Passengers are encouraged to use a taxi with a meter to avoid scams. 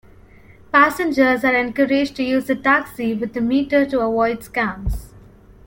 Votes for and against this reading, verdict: 2, 0, accepted